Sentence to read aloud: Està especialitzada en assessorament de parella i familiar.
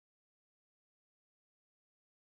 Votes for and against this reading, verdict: 1, 2, rejected